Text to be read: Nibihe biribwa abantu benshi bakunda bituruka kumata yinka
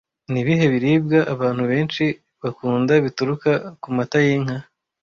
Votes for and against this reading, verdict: 2, 0, accepted